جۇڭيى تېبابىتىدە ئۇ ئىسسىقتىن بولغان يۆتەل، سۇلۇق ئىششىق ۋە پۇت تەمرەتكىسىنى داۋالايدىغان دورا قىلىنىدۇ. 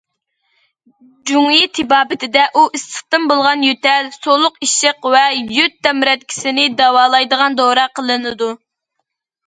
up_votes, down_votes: 0, 2